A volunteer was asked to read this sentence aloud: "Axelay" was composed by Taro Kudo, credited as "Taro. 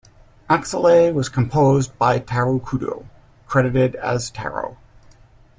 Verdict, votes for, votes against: accepted, 2, 0